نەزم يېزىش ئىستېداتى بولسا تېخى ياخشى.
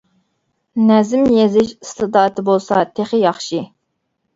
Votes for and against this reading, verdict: 2, 0, accepted